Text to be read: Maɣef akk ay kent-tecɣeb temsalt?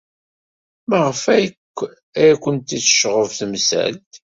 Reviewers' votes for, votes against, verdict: 1, 2, rejected